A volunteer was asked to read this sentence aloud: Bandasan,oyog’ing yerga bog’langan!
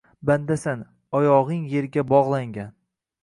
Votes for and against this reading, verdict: 2, 0, accepted